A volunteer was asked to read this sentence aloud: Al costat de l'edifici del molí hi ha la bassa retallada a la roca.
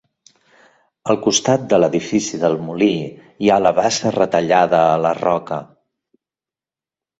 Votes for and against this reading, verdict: 2, 0, accepted